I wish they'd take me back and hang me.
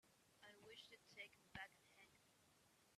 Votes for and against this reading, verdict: 1, 2, rejected